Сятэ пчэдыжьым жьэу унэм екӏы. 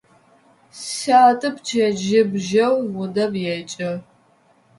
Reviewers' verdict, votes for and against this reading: rejected, 1, 2